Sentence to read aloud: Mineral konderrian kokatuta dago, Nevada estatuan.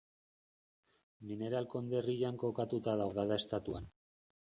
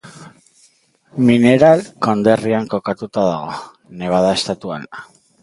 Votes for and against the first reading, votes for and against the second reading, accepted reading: 0, 2, 2, 0, second